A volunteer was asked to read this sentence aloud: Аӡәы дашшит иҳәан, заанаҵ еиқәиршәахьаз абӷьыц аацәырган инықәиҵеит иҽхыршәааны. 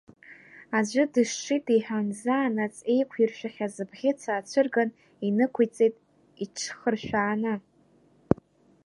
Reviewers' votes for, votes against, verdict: 0, 2, rejected